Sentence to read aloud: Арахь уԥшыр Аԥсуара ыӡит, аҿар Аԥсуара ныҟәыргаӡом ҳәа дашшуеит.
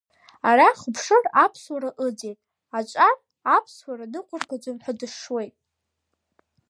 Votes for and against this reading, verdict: 2, 0, accepted